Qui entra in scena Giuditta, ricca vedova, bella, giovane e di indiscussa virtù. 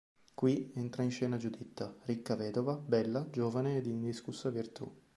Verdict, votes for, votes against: accepted, 2, 0